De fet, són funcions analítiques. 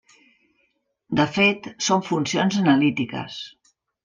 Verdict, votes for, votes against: accepted, 3, 0